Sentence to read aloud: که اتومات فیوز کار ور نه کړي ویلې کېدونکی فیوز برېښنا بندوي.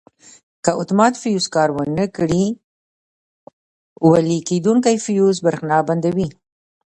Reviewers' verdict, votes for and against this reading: rejected, 1, 2